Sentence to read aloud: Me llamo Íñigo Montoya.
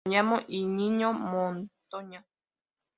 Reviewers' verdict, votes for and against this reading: accepted, 3, 0